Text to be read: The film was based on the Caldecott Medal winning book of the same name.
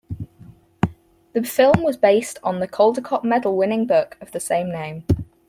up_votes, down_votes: 4, 0